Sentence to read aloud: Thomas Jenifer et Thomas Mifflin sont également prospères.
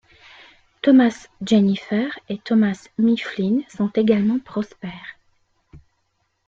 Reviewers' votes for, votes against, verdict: 2, 0, accepted